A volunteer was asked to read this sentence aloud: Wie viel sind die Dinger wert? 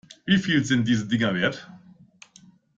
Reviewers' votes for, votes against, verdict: 1, 2, rejected